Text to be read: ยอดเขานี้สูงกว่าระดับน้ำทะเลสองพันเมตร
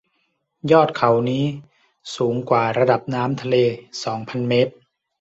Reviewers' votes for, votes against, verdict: 2, 0, accepted